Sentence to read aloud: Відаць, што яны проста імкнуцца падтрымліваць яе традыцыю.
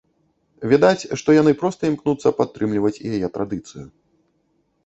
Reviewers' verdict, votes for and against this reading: accepted, 2, 0